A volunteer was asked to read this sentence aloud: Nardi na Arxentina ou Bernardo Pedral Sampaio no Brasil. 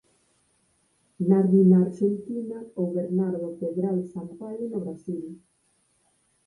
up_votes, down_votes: 4, 2